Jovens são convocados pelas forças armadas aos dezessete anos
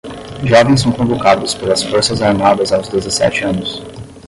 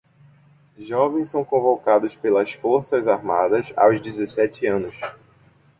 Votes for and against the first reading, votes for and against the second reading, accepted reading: 5, 5, 2, 0, second